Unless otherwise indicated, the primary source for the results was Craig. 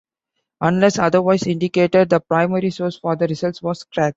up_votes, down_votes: 2, 0